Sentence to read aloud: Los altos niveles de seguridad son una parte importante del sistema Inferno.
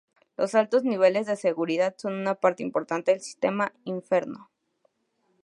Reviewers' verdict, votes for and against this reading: accepted, 2, 0